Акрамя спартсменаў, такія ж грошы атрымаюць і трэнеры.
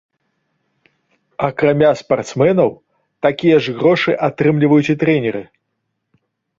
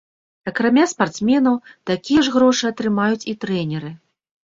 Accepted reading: second